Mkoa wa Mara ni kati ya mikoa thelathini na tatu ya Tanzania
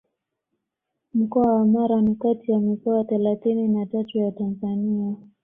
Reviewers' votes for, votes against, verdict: 2, 0, accepted